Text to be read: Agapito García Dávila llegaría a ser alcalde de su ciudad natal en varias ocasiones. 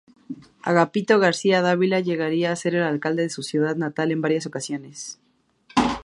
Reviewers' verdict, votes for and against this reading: rejected, 0, 2